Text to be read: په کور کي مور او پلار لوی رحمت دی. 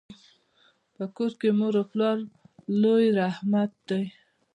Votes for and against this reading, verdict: 1, 2, rejected